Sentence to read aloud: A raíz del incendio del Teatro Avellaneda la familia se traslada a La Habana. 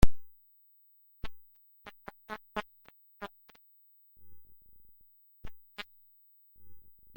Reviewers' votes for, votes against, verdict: 0, 2, rejected